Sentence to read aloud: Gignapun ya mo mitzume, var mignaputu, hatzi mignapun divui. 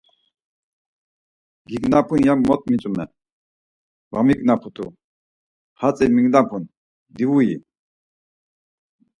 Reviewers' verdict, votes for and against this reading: accepted, 4, 0